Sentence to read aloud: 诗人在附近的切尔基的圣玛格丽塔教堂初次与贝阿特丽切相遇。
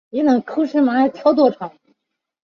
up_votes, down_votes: 1, 2